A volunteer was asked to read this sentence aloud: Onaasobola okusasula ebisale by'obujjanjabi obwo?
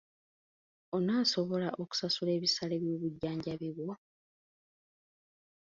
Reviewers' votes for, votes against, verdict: 0, 2, rejected